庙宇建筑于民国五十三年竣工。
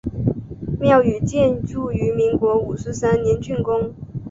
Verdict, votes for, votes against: accepted, 4, 2